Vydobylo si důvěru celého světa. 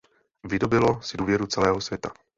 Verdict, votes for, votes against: rejected, 1, 2